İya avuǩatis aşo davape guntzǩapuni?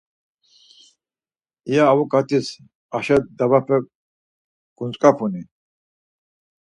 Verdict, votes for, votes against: accepted, 4, 0